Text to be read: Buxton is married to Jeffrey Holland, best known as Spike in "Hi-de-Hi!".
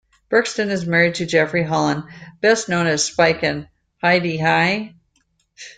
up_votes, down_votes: 2, 1